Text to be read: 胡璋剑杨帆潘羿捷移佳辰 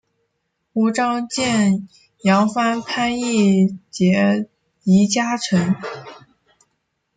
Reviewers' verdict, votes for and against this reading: rejected, 2, 4